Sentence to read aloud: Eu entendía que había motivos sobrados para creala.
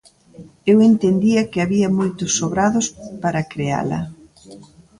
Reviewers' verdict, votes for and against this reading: rejected, 0, 2